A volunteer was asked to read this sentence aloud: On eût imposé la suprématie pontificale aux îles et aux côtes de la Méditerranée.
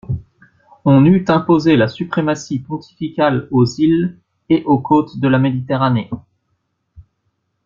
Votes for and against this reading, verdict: 2, 0, accepted